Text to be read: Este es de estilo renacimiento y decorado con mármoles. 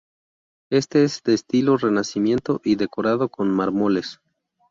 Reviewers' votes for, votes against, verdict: 0, 2, rejected